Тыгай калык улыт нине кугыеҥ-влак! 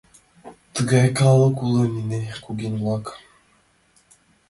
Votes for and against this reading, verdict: 0, 2, rejected